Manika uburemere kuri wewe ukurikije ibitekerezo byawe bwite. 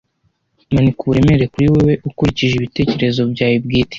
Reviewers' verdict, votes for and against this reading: rejected, 1, 2